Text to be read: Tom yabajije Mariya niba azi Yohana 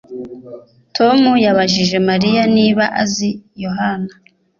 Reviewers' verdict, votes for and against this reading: accepted, 3, 0